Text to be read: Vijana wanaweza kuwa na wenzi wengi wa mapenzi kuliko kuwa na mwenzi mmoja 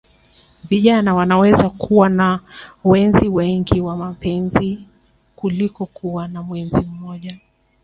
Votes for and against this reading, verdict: 3, 0, accepted